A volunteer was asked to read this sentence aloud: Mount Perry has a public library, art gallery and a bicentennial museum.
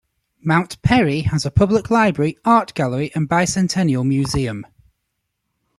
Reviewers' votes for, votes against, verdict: 0, 2, rejected